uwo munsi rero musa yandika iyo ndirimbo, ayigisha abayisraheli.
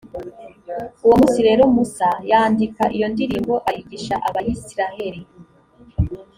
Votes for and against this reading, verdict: 2, 0, accepted